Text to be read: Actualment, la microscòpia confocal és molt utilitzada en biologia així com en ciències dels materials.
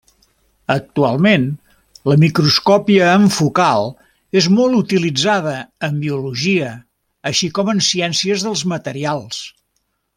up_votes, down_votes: 0, 2